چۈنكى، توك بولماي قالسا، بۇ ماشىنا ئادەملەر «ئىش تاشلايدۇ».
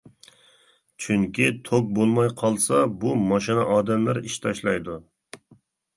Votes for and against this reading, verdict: 2, 0, accepted